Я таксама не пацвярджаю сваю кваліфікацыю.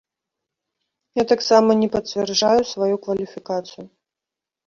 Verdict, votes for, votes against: rejected, 0, 2